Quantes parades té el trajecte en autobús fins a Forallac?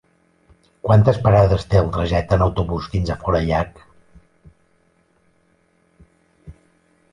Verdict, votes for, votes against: accepted, 2, 0